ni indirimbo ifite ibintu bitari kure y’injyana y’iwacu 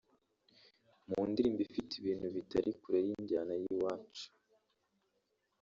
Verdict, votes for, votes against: rejected, 1, 2